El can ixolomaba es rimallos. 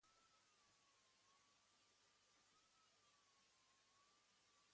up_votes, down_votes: 1, 2